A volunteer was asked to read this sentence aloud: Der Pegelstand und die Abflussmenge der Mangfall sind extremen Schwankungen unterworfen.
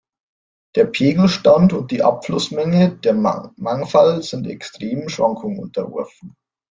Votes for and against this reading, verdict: 0, 2, rejected